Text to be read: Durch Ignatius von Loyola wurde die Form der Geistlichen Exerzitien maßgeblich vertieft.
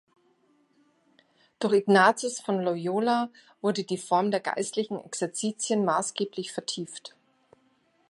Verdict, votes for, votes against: accepted, 2, 0